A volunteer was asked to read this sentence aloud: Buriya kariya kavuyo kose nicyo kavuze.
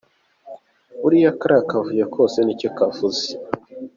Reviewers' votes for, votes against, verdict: 3, 0, accepted